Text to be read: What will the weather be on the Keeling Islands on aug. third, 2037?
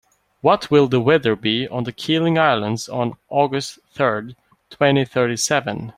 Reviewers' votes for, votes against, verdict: 0, 2, rejected